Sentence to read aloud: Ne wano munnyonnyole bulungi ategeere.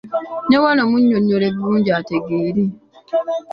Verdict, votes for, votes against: accepted, 2, 0